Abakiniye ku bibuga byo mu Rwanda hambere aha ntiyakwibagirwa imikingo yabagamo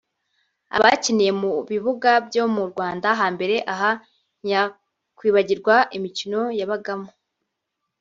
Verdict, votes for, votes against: rejected, 0, 2